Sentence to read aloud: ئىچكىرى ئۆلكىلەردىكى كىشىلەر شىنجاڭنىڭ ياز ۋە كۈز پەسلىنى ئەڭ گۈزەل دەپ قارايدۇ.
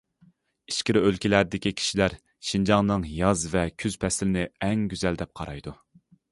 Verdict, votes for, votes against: accepted, 2, 0